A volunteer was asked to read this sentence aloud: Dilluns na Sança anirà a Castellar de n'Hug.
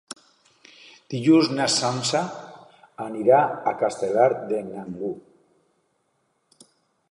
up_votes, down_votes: 2, 3